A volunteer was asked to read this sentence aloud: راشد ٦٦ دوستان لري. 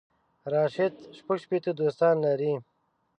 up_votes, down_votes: 0, 2